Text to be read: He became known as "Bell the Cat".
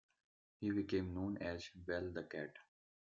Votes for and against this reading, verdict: 2, 0, accepted